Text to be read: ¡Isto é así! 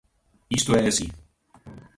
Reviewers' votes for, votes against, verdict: 2, 1, accepted